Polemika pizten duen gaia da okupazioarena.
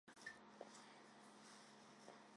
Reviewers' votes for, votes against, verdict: 0, 2, rejected